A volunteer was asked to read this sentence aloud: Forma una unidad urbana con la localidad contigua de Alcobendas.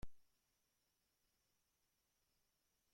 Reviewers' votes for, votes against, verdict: 0, 2, rejected